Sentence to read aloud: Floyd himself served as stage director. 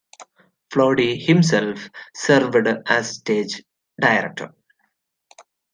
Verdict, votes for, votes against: rejected, 0, 2